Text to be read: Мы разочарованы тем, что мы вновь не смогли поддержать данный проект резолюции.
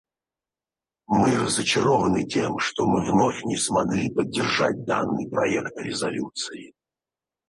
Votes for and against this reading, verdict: 0, 4, rejected